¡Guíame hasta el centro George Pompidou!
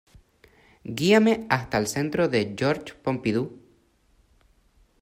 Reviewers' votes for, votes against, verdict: 2, 1, accepted